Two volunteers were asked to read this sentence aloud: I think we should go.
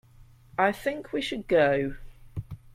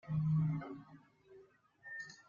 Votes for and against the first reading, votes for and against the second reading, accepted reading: 2, 0, 0, 2, first